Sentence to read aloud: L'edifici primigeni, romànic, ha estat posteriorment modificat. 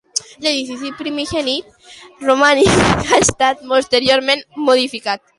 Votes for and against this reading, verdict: 0, 2, rejected